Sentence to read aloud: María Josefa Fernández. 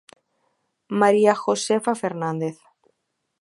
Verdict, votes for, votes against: accepted, 2, 0